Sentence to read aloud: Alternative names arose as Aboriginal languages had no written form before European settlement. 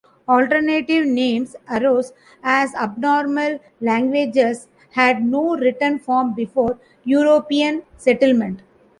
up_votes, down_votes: 0, 2